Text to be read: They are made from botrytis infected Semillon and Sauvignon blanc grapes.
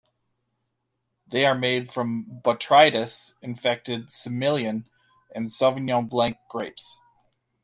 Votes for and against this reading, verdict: 2, 0, accepted